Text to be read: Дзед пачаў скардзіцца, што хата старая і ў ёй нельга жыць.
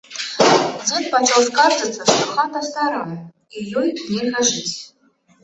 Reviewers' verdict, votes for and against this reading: rejected, 0, 2